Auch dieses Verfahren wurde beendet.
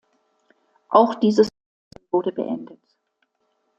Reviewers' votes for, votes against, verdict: 0, 2, rejected